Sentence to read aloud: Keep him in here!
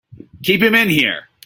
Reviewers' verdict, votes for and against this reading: accepted, 2, 0